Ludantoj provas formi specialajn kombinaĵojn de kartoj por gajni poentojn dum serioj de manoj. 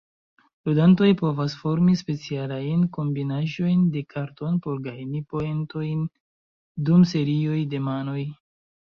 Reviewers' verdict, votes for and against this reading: rejected, 0, 2